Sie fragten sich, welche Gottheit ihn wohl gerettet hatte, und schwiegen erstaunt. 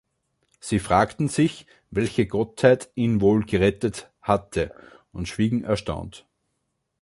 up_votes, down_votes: 3, 0